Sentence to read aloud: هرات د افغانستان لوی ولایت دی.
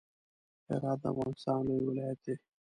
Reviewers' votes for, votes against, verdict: 2, 0, accepted